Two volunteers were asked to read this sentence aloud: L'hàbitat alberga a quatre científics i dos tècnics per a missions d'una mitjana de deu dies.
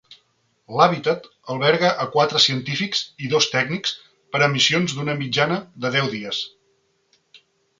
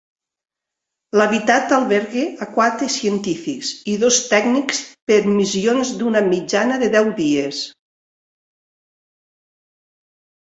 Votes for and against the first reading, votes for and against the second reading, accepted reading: 4, 0, 0, 2, first